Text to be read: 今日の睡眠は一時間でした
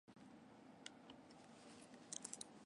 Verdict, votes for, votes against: rejected, 0, 2